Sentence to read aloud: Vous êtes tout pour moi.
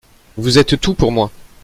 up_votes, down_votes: 2, 0